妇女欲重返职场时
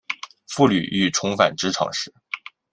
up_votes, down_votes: 2, 1